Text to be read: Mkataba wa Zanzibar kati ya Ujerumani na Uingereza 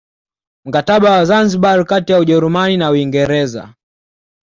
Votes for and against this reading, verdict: 2, 0, accepted